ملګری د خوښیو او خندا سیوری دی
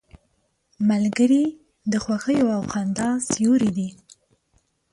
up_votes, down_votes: 2, 0